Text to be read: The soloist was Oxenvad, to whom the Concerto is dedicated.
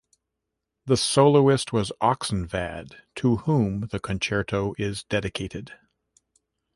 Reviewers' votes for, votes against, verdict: 3, 1, accepted